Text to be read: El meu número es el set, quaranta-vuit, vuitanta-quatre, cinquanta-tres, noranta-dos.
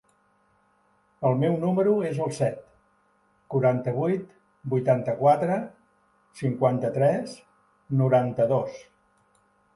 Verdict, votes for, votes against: accepted, 4, 0